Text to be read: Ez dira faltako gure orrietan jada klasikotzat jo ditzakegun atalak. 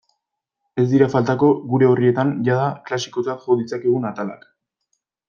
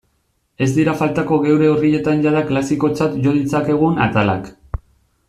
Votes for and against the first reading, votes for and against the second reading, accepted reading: 2, 0, 0, 2, first